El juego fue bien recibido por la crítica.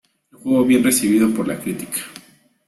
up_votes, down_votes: 1, 2